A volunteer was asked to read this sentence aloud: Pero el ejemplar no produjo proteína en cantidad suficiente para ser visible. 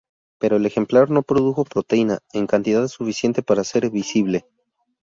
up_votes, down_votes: 2, 0